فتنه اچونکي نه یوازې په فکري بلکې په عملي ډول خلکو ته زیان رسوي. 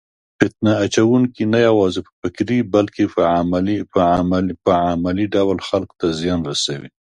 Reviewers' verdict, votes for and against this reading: rejected, 1, 2